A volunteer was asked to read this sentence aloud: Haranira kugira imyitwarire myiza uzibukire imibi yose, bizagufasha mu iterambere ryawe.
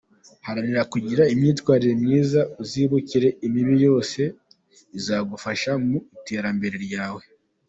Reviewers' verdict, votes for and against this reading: accepted, 2, 0